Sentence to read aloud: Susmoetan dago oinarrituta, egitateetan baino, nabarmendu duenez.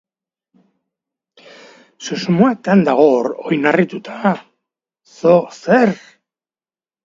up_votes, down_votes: 0, 2